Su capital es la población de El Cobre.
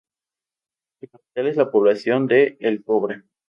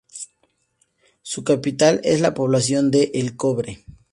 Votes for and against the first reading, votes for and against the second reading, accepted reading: 0, 4, 4, 0, second